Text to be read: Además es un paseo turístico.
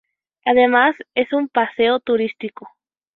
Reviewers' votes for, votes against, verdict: 4, 0, accepted